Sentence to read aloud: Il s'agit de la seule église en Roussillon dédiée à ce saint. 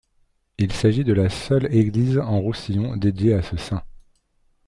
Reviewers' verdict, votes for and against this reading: accepted, 2, 0